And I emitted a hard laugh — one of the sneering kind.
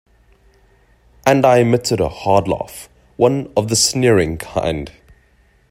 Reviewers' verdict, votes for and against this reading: accepted, 2, 0